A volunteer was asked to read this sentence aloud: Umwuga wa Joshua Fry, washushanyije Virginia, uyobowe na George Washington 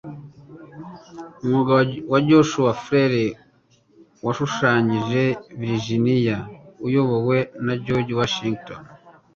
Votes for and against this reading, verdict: 1, 2, rejected